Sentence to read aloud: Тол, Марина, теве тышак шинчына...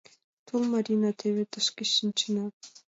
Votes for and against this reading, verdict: 1, 2, rejected